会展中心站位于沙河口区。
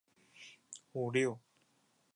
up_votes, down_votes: 0, 2